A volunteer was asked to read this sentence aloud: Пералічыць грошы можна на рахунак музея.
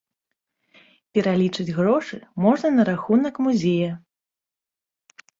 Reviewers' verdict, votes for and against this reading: rejected, 0, 2